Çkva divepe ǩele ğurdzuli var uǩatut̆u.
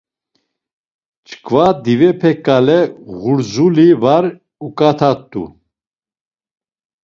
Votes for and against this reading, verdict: 0, 2, rejected